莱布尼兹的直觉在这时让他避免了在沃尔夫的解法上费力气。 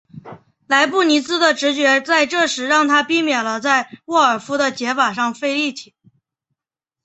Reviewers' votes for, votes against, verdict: 2, 0, accepted